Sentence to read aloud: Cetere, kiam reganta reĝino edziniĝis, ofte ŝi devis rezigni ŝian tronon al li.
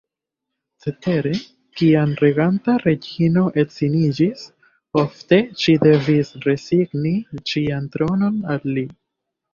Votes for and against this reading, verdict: 2, 0, accepted